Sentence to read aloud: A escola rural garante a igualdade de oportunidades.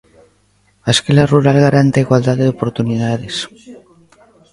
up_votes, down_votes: 0, 2